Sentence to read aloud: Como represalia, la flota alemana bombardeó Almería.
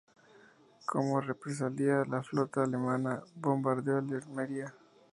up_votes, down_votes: 0, 6